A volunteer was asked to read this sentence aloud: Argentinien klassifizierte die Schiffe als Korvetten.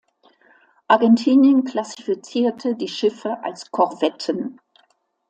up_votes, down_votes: 2, 0